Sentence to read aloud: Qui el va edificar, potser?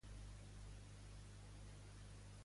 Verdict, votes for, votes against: rejected, 0, 2